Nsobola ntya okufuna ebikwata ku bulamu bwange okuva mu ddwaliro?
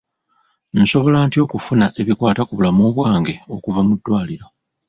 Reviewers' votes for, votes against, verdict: 0, 2, rejected